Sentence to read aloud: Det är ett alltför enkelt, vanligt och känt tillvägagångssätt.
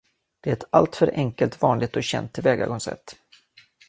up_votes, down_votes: 1, 2